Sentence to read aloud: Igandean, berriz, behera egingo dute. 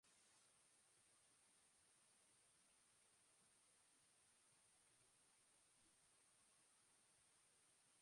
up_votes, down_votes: 0, 2